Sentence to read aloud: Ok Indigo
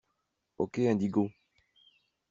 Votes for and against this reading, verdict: 2, 1, accepted